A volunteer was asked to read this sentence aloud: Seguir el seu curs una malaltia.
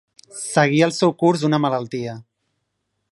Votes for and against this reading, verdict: 1, 2, rejected